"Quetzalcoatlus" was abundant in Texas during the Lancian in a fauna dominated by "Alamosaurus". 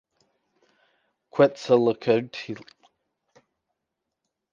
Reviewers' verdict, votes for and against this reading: rejected, 0, 2